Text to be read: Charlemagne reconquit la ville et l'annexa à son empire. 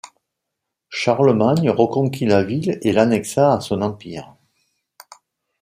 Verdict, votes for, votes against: accepted, 2, 0